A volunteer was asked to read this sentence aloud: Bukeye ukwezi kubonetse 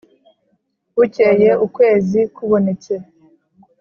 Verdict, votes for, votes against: accepted, 2, 0